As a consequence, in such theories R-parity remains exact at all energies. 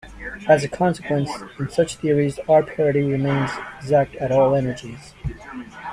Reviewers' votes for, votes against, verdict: 1, 2, rejected